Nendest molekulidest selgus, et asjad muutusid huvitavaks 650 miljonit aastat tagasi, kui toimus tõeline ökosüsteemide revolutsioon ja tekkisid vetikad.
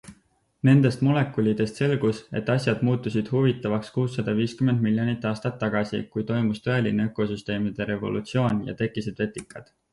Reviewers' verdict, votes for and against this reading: rejected, 0, 2